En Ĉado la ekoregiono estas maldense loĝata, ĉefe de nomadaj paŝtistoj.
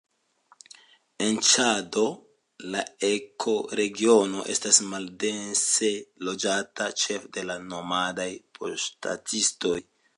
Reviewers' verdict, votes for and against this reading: accepted, 3, 1